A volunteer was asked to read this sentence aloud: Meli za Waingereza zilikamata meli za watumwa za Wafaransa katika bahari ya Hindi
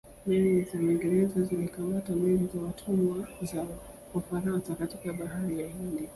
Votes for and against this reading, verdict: 1, 2, rejected